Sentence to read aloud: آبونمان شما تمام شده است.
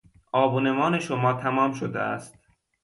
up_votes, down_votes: 1, 2